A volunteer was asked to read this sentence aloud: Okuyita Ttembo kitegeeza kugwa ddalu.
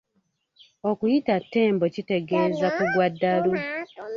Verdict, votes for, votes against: rejected, 1, 2